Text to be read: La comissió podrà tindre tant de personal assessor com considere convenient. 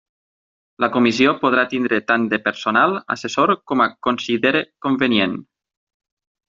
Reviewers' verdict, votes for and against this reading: rejected, 0, 6